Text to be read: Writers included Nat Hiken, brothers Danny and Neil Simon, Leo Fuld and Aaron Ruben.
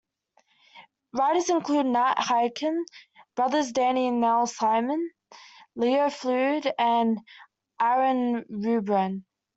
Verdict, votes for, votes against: accepted, 2, 1